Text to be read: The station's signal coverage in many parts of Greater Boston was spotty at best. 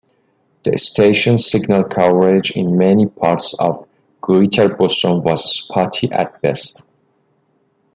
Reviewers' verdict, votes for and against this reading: accepted, 2, 0